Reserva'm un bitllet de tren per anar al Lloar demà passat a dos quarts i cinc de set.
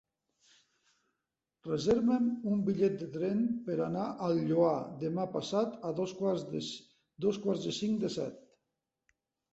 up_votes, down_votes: 0, 2